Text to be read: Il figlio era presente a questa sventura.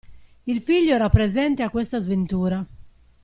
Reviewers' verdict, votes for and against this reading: accepted, 2, 0